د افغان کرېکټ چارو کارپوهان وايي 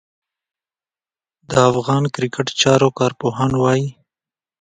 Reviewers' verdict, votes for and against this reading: accepted, 2, 0